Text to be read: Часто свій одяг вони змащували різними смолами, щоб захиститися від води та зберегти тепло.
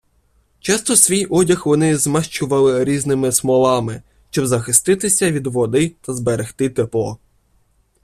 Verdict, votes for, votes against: rejected, 1, 2